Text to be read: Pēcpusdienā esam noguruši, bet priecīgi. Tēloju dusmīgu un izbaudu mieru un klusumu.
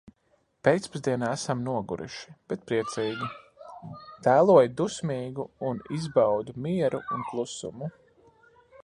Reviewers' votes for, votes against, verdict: 2, 0, accepted